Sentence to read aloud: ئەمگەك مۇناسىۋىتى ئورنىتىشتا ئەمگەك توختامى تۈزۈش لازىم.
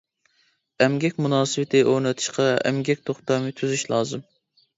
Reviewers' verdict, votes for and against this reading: accepted, 2, 0